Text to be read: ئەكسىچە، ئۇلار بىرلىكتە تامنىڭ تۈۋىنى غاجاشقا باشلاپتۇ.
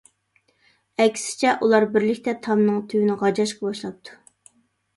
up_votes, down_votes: 2, 0